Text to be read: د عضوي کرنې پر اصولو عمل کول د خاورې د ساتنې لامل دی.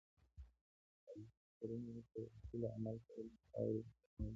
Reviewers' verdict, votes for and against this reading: rejected, 1, 2